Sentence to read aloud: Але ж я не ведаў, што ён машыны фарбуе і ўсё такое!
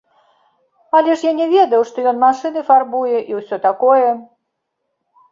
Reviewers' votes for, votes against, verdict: 1, 2, rejected